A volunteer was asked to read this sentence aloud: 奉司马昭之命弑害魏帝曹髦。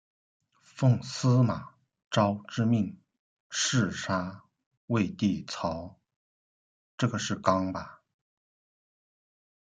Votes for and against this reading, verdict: 0, 2, rejected